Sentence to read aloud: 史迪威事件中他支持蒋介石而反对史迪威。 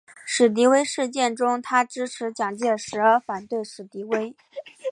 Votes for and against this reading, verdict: 2, 0, accepted